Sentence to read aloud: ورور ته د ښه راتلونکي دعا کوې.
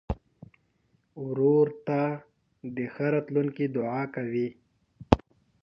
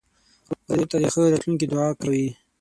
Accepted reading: first